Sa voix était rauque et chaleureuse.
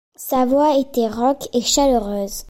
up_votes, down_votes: 1, 2